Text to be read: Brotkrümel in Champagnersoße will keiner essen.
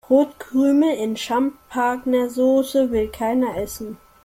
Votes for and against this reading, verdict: 1, 2, rejected